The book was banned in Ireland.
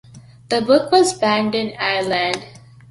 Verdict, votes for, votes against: accepted, 2, 0